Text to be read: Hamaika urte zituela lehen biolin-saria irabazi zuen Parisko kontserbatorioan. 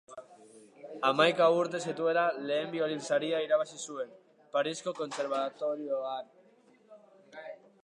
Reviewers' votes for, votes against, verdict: 1, 2, rejected